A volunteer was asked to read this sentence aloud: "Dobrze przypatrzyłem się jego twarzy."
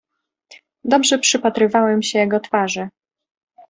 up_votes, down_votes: 0, 2